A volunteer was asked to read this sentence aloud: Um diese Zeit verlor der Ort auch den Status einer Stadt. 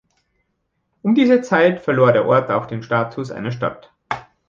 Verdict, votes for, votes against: accepted, 2, 0